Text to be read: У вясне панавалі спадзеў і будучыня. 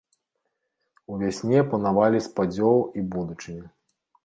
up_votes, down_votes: 0, 2